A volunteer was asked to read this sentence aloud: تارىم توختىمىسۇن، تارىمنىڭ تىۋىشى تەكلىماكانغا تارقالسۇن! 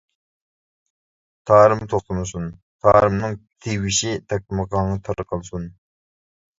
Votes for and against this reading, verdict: 1, 2, rejected